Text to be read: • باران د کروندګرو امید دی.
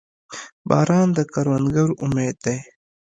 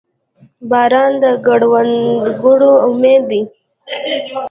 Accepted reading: first